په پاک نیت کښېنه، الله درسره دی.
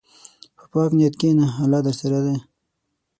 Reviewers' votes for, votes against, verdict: 3, 6, rejected